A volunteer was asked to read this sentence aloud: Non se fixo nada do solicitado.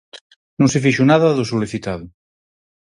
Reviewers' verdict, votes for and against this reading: accepted, 4, 0